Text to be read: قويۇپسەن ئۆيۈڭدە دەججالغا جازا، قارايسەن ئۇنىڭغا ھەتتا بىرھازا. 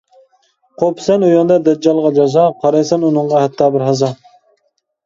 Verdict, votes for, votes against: accepted, 2, 1